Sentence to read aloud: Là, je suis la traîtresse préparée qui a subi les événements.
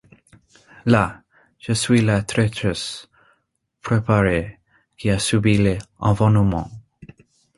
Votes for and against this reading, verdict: 1, 2, rejected